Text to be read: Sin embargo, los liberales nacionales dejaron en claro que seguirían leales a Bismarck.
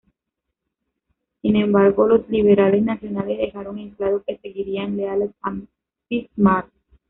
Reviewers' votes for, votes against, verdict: 1, 2, rejected